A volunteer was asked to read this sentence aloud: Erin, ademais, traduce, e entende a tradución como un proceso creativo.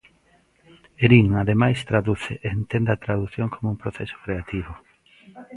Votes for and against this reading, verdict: 1, 2, rejected